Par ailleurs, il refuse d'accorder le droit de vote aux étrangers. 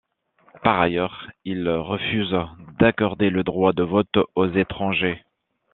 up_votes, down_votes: 2, 0